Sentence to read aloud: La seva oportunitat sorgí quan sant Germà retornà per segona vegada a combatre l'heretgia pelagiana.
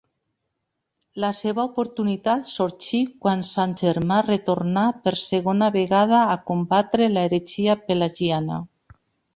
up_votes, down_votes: 2, 0